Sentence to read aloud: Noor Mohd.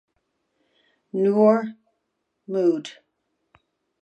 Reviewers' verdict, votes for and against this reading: accepted, 2, 1